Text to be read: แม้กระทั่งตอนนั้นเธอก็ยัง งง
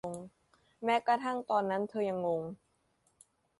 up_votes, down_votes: 0, 2